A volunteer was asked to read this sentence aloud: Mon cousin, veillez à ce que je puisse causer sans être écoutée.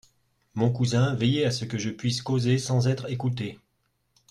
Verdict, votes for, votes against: accepted, 2, 0